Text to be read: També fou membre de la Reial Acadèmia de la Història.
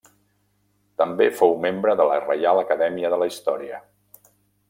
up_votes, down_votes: 1, 2